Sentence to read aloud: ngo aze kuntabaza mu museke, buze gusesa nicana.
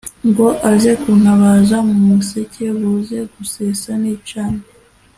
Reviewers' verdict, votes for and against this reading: accepted, 2, 0